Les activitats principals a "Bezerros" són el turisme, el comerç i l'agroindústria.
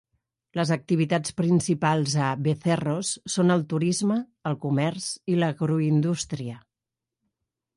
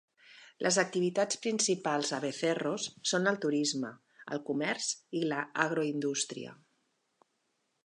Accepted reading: first